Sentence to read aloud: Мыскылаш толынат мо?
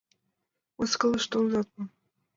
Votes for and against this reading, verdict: 1, 2, rejected